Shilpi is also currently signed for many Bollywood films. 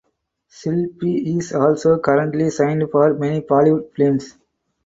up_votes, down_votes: 0, 4